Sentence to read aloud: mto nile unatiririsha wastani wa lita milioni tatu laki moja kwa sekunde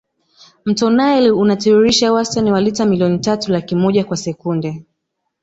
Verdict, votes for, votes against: accepted, 2, 0